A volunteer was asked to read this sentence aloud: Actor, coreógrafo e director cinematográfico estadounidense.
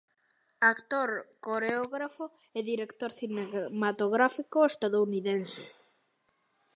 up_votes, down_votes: 0, 2